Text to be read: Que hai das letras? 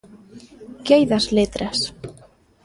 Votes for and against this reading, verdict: 2, 0, accepted